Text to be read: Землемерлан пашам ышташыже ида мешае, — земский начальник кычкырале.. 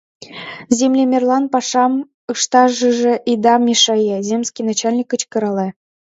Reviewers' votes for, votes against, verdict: 0, 2, rejected